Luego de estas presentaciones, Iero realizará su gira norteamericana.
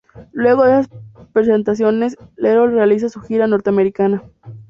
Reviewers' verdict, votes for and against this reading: rejected, 2, 2